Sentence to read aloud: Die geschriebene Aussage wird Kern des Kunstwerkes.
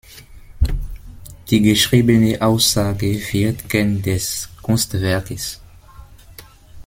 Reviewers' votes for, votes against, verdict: 2, 0, accepted